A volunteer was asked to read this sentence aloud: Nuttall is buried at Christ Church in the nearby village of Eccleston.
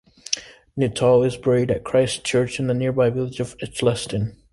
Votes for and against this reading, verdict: 3, 0, accepted